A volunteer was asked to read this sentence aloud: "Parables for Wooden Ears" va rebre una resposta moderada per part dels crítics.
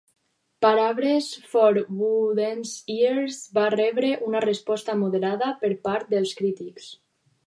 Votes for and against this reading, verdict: 4, 2, accepted